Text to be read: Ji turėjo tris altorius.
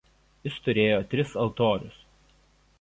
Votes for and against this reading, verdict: 1, 2, rejected